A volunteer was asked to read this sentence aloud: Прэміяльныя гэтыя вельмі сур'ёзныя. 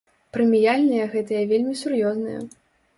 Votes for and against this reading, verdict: 2, 0, accepted